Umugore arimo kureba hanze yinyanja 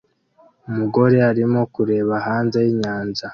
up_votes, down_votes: 2, 0